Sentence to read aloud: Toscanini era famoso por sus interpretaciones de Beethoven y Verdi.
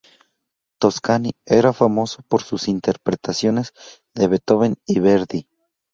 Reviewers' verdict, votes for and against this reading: rejected, 0, 2